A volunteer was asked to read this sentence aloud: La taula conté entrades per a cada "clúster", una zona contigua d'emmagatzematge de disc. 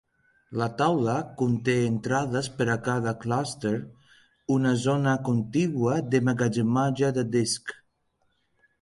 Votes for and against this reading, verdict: 0, 2, rejected